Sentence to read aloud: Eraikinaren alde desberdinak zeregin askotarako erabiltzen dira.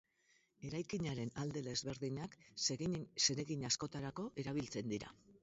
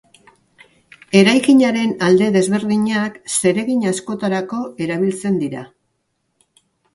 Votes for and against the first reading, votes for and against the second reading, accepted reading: 0, 2, 2, 0, second